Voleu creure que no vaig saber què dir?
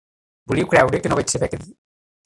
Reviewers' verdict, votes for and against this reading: rejected, 1, 2